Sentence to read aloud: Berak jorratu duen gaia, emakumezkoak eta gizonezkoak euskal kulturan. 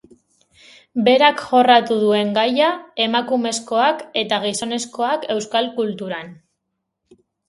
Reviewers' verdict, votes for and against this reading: accepted, 2, 0